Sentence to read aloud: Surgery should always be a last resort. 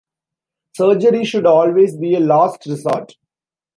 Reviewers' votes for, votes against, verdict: 0, 2, rejected